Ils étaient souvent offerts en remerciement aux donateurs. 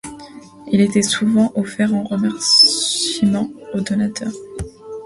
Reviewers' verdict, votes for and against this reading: rejected, 0, 2